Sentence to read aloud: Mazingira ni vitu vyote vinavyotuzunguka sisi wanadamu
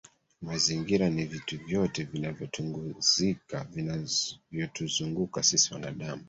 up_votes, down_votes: 0, 3